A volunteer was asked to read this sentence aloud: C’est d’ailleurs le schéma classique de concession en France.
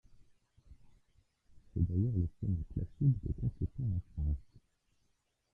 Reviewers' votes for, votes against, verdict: 0, 2, rejected